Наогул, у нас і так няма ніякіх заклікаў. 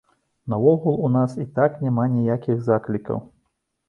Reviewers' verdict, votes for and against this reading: accepted, 2, 0